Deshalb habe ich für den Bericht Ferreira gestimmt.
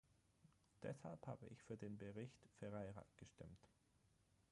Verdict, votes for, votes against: rejected, 3, 6